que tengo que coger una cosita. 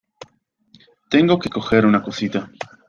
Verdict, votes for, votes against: rejected, 0, 2